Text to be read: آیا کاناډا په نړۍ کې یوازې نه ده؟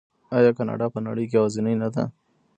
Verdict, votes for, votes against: accepted, 2, 1